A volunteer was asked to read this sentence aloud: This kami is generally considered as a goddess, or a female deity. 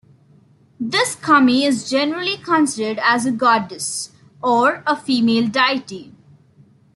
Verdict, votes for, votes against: accepted, 2, 0